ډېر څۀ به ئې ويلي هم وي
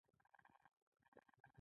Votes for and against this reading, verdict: 1, 2, rejected